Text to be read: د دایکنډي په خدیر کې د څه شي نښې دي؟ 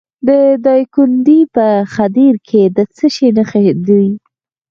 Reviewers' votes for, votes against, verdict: 4, 0, accepted